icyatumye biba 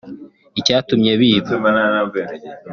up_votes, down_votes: 0, 2